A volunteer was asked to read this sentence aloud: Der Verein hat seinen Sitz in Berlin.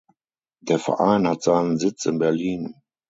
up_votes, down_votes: 6, 0